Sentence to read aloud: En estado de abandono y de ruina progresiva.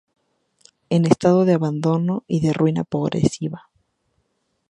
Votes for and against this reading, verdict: 0, 4, rejected